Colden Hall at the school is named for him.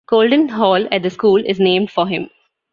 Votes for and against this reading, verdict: 2, 0, accepted